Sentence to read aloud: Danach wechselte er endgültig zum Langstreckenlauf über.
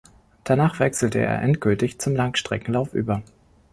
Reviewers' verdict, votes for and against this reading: accepted, 2, 0